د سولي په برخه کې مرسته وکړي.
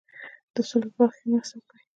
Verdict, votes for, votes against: accepted, 2, 1